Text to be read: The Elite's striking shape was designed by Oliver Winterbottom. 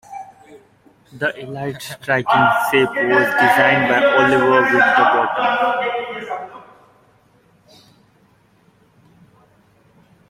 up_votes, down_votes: 1, 2